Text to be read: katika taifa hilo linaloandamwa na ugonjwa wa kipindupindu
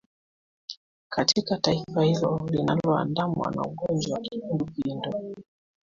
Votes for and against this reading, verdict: 2, 1, accepted